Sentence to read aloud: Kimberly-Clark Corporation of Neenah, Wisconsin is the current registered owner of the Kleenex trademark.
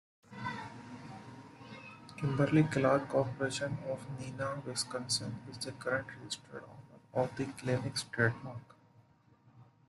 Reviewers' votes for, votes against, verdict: 1, 3, rejected